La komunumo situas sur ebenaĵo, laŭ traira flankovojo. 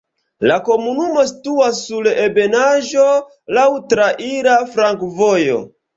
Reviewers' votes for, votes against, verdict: 1, 2, rejected